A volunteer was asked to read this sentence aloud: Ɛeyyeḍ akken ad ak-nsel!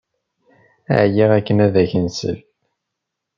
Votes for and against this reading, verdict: 1, 2, rejected